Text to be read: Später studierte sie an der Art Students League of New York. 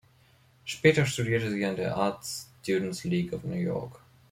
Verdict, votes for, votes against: accepted, 2, 0